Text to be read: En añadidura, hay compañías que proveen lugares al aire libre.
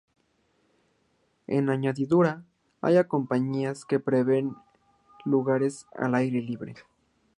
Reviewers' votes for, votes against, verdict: 1, 2, rejected